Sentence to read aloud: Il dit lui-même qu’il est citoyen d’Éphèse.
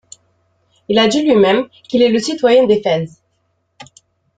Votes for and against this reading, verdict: 0, 2, rejected